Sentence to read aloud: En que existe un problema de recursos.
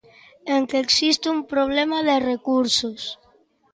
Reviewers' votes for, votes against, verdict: 2, 0, accepted